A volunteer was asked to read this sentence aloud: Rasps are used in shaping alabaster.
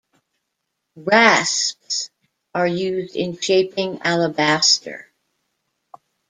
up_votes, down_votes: 1, 2